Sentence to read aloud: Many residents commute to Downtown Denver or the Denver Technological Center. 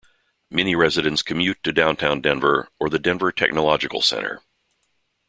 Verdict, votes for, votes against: accepted, 2, 0